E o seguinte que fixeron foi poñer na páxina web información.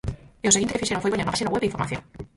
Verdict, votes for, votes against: rejected, 0, 4